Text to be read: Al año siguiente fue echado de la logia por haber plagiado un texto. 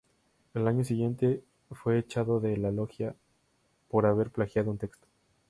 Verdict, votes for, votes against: accepted, 2, 0